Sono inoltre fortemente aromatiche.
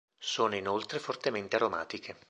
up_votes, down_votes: 2, 0